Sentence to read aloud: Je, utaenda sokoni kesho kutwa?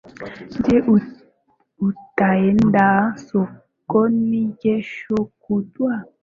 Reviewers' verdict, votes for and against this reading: rejected, 1, 2